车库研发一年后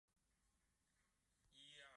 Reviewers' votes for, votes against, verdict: 1, 3, rejected